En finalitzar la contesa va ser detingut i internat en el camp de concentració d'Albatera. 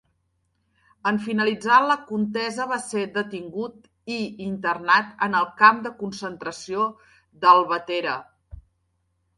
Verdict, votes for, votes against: accepted, 2, 0